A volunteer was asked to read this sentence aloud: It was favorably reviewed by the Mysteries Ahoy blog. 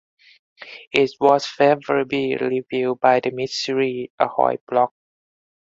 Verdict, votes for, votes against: rejected, 2, 2